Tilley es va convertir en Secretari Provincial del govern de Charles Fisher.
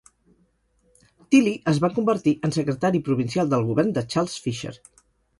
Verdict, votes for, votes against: rejected, 2, 2